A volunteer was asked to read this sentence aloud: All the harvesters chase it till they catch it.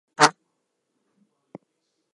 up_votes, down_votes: 0, 4